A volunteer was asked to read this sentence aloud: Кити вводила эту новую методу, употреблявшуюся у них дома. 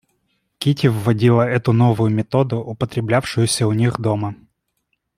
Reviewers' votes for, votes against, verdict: 2, 0, accepted